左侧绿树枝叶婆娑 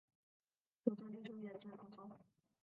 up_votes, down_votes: 0, 2